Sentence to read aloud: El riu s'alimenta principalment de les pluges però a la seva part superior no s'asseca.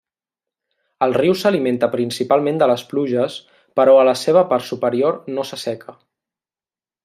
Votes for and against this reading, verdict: 3, 0, accepted